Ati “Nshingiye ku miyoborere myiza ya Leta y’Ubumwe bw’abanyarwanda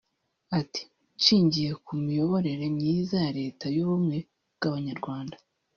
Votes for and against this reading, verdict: 1, 2, rejected